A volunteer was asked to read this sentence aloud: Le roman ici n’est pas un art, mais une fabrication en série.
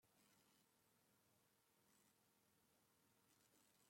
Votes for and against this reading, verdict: 0, 2, rejected